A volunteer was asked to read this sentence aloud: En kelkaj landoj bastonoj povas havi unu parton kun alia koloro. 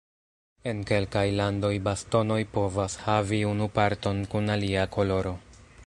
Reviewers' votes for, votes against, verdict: 1, 2, rejected